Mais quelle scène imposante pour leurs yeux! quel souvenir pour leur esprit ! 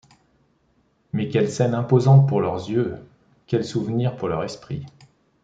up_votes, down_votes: 2, 1